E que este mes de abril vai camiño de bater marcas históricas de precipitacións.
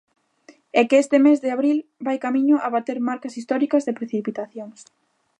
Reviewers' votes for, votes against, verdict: 0, 2, rejected